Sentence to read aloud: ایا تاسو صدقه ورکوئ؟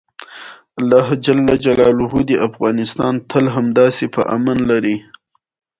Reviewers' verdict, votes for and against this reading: accepted, 2, 0